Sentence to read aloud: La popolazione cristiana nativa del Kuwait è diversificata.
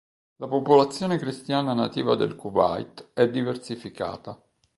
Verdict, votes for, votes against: rejected, 0, 2